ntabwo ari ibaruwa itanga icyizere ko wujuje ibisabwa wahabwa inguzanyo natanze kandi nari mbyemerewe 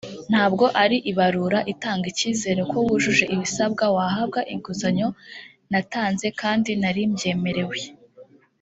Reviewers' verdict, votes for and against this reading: rejected, 2, 3